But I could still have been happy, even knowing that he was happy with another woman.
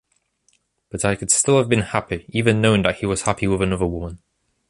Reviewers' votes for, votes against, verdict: 2, 0, accepted